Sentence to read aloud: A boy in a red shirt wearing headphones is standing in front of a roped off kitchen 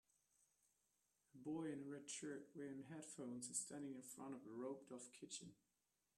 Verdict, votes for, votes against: rejected, 1, 2